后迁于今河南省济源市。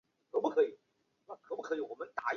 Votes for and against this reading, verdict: 0, 3, rejected